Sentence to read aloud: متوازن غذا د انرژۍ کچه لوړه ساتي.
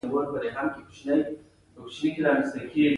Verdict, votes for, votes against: accepted, 2, 0